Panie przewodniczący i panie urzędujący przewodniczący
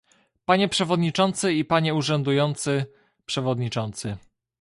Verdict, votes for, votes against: accepted, 2, 0